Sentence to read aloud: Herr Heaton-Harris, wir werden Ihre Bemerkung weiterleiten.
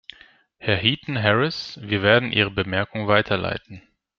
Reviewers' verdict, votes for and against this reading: accepted, 2, 0